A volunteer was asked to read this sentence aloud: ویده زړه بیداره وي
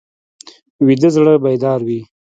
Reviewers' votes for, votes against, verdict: 1, 2, rejected